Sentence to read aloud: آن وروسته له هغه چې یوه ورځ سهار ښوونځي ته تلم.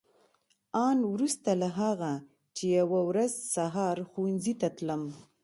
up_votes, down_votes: 2, 0